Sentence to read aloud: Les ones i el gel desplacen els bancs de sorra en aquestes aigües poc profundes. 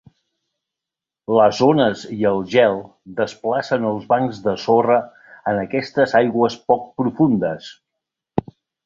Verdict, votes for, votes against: accepted, 2, 0